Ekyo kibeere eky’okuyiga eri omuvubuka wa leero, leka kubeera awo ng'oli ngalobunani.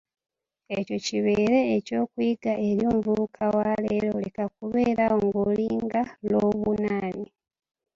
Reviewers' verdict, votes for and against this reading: rejected, 1, 2